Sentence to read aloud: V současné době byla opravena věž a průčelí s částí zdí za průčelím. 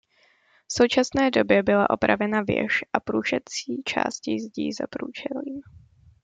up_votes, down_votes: 0, 2